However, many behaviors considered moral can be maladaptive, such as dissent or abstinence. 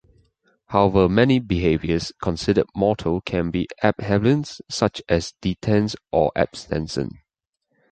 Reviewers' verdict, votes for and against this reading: rejected, 1, 2